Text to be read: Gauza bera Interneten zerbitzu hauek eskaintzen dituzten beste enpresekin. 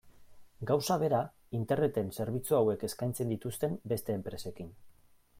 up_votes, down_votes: 2, 0